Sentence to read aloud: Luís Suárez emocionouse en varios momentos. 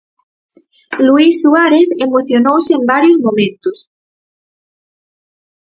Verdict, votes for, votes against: accepted, 4, 0